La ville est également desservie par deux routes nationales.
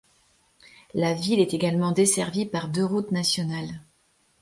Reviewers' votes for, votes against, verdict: 2, 0, accepted